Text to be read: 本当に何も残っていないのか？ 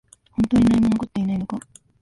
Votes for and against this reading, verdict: 1, 2, rejected